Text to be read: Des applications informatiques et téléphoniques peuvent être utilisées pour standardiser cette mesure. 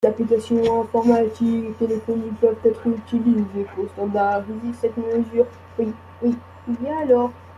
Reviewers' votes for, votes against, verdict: 0, 2, rejected